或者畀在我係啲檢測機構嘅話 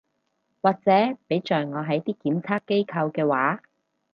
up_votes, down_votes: 2, 2